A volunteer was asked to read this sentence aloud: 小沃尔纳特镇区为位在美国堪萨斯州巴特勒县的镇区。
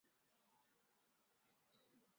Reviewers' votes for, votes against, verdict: 1, 2, rejected